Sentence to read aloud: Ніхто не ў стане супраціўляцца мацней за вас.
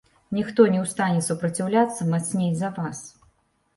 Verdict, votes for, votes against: accepted, 2, 0